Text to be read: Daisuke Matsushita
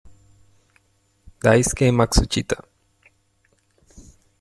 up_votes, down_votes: 0, 2